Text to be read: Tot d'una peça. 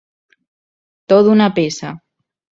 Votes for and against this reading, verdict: 0, 2, rejected